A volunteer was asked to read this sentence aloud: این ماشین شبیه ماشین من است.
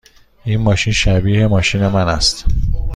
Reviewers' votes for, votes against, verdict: 2, 0, accepted